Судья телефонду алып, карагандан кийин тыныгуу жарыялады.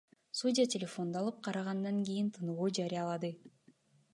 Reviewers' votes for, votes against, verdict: 3, 1, accepted